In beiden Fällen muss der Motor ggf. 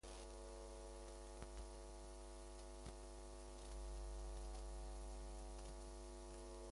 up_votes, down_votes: 1, 2